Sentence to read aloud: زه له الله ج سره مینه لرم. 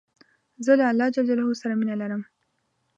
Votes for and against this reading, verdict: 2, 0, accepted